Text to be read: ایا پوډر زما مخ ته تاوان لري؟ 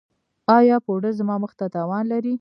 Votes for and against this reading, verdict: 2, 1, accepted